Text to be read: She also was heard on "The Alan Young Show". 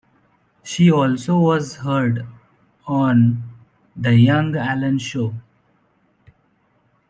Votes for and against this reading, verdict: 0, 2, rejected